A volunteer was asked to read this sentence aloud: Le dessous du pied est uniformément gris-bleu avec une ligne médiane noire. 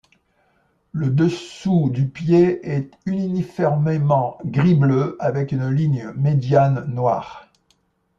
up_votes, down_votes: 1, 2